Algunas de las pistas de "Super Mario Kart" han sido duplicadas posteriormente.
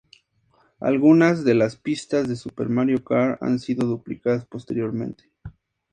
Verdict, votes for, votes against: accepted, 2, 0